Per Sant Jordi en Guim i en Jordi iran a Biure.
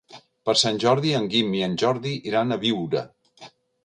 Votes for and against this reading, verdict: 2, 0, accepted